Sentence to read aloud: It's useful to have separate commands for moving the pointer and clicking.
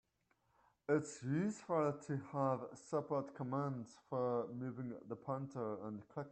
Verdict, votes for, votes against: rejected, 1, 2